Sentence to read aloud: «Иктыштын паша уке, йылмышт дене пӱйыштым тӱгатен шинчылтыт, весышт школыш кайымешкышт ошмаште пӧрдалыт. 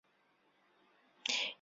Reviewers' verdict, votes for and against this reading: rejected, 0, 3